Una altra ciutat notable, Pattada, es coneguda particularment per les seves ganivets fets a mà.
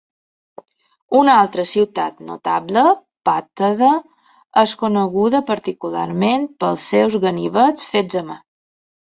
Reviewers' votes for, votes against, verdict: 0, 2, rejected